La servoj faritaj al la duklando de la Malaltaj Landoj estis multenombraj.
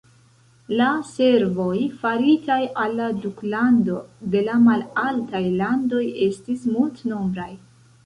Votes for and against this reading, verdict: 2, 0, accepted